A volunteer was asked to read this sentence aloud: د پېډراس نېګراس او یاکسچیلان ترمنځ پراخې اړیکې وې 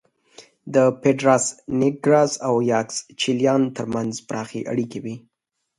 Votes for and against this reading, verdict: 2, 0, accepted